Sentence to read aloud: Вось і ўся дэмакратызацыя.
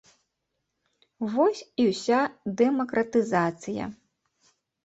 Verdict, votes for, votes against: accepted, 2, 0